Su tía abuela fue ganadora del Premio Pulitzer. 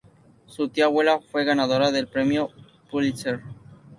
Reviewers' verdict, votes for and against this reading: accepted, 4, 0